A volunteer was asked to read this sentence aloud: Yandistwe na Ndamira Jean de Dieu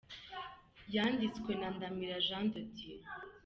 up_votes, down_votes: 2, 1